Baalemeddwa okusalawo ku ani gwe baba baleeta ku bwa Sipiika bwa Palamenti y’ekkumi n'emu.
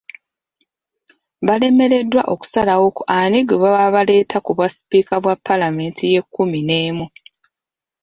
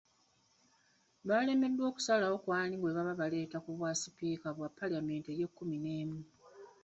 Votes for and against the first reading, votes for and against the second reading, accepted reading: 0, 2, 2, 0, second